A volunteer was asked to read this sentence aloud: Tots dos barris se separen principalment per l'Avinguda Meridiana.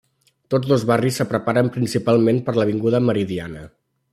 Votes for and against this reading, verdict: 1, 2, rejected